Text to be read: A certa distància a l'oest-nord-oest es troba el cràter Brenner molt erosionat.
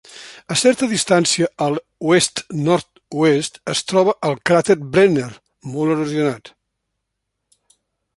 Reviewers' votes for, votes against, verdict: 2, 0, accepted